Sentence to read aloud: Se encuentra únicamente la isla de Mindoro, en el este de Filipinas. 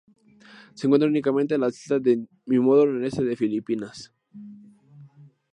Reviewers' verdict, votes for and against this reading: rejected, 0, 2